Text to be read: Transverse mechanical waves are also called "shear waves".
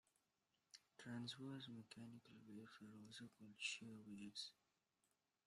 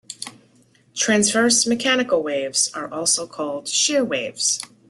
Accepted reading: second